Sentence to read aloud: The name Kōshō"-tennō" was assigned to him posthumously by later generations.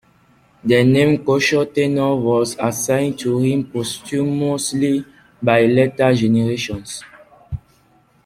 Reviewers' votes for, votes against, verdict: 2, 1, accepted